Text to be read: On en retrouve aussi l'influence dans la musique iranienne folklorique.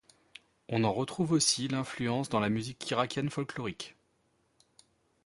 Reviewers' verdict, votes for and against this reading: rejected, 1, 2